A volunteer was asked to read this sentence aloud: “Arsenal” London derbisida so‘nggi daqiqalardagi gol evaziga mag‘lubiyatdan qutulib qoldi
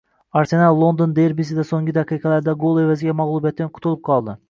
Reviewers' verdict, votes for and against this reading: rejected, 0, 2